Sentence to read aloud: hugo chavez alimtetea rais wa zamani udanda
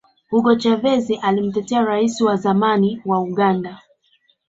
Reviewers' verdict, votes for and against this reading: rejected, 1, 2